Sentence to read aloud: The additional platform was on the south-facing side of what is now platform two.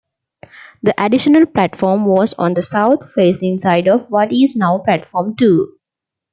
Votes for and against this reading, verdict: 2, 0, accepted